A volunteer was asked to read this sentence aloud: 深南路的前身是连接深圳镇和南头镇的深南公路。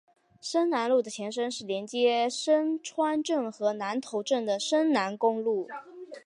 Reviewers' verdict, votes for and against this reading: rejected, 0, 4